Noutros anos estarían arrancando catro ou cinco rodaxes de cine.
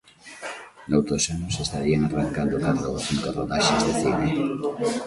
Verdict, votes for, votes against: rejected, 1, 2